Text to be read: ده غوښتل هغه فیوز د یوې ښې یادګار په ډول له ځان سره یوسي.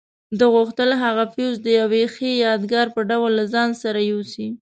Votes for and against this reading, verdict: 2, 0, accepted